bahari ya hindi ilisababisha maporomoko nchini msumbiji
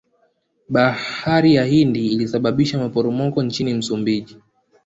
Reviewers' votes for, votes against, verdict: 1, 2, rejected